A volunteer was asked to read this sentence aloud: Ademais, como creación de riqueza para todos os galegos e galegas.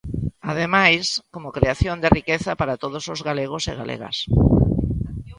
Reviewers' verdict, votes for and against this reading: accepted, 4, 0